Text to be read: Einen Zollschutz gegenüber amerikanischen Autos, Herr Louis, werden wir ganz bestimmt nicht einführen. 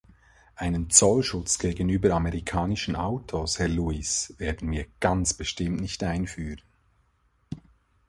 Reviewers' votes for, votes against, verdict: 2, 0, accepted